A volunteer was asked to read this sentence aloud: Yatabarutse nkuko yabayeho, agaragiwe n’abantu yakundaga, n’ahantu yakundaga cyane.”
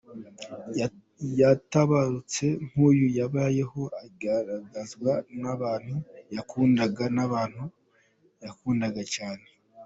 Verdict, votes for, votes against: rejected, 0, 2